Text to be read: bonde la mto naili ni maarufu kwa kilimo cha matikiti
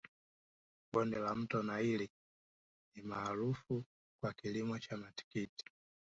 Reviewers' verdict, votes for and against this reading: rejected, 1, 2